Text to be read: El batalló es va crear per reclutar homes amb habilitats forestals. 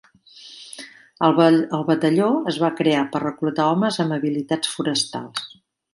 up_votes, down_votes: 0, 2